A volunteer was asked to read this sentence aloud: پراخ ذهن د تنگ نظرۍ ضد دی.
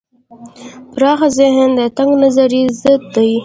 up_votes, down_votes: 2, 0